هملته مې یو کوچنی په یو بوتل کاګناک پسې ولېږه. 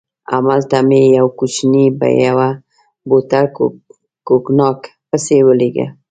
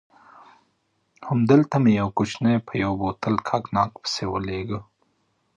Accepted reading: second